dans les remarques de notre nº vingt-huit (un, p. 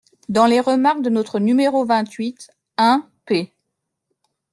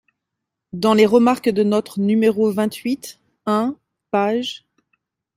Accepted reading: first